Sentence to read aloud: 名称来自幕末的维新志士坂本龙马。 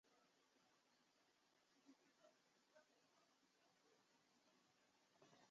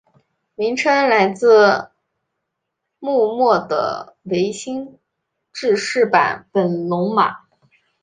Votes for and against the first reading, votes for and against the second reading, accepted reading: 0, 2, 2, 0, second